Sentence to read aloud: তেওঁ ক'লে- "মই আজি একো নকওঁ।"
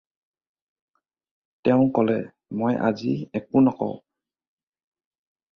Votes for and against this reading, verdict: 4, 0, accepted